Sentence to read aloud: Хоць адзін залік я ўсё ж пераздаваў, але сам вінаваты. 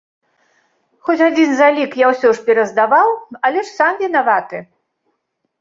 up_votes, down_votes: 0, 2